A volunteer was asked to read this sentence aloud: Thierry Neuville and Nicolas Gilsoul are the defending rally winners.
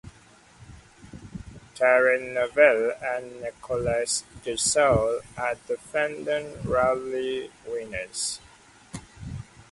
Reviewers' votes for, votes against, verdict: 2, 0, accepted